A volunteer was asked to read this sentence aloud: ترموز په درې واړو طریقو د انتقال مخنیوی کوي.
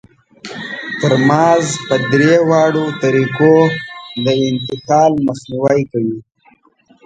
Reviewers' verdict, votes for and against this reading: accepted, 2, 1